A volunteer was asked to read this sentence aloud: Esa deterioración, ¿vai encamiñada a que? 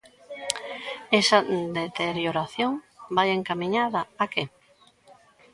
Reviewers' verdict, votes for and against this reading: accepted, 2, 0